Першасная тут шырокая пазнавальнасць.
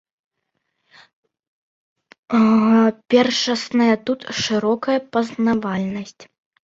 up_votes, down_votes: 0, 2